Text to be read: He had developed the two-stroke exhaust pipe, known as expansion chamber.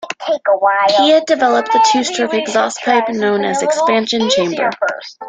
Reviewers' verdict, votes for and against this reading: rejected, 0, 2